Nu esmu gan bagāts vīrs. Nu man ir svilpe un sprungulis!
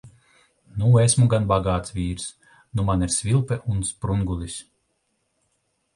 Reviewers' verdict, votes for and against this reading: accepted, 2, 0